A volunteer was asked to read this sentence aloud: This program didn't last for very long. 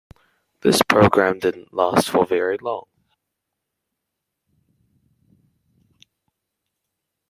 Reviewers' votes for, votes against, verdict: 1, 2, rejected